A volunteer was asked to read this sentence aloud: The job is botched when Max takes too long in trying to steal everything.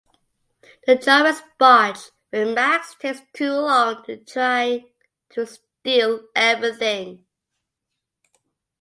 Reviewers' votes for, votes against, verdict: 1, 2, rejected